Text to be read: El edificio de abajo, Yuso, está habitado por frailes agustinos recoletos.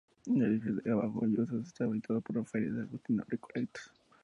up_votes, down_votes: 0, 2